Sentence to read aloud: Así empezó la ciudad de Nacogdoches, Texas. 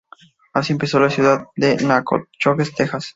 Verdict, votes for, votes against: accepted, 2, 0